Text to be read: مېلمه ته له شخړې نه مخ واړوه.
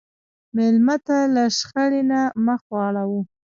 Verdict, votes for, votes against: rejected, 1, 2